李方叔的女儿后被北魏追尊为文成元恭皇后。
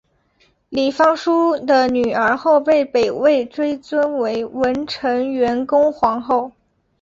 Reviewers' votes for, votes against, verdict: 5, 2, accepted